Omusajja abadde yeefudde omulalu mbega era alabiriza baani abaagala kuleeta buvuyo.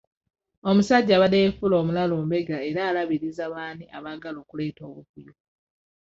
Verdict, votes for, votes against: rejected, 1, 2